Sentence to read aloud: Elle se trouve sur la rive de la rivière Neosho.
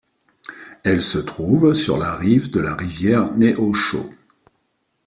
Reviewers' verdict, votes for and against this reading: accepted, 2, 0